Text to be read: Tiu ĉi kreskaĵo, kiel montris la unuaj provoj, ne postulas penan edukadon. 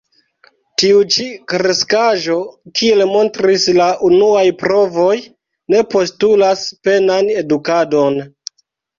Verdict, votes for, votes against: accepted, 2, 1